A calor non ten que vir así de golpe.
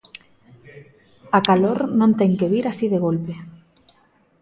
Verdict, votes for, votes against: accepted, 2, 0